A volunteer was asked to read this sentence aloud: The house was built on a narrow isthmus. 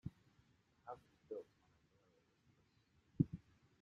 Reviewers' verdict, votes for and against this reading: rejected, 0, 2